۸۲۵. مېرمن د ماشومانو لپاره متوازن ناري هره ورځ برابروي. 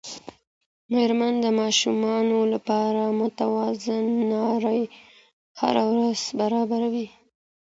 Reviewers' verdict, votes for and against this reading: rejected, 0, 2